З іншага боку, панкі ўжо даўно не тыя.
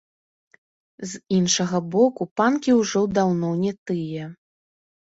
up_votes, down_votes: 0, 2